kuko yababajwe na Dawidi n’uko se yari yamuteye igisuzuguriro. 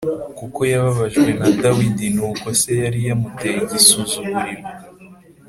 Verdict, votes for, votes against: accepted, 2, 0